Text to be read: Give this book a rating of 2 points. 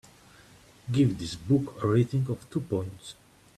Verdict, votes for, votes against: rejected, 0, 2